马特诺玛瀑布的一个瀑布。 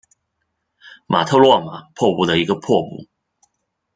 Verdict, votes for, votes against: rejected, 1, 2